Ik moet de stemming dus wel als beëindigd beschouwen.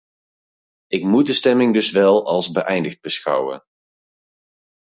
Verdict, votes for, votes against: accepted, 4, 0